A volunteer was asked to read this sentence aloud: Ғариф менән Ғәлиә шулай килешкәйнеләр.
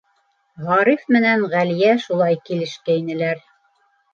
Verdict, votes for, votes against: accepted, 2, 0